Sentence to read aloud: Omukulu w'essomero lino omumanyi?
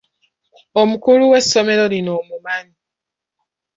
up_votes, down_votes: 2, 0